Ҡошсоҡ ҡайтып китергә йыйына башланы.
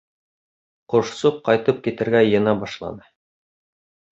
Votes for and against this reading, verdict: 2, 0, accepted